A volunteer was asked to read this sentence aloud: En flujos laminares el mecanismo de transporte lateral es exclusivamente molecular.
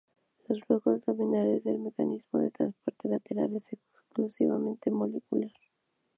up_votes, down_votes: 0, 2